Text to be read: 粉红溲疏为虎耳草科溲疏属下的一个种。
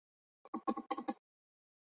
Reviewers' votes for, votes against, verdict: 0, 3, rejected